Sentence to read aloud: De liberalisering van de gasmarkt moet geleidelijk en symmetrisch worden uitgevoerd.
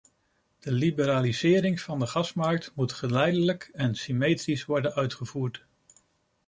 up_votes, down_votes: 2, 0